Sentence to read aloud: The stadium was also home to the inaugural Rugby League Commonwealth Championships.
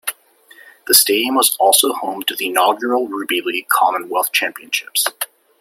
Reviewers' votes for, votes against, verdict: 0, 2, rejected